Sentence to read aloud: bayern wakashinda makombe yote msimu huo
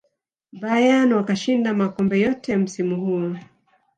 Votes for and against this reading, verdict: 0, 2, rejected